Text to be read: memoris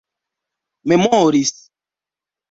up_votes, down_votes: 2, 0